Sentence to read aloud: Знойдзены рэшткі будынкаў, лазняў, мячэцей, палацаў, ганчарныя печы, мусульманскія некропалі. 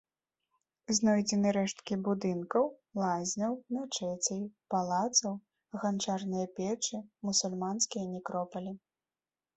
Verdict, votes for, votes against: accepted, 2, 0